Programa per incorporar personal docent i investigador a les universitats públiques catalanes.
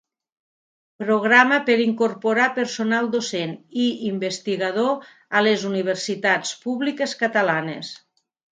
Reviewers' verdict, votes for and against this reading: accepted, 2, 0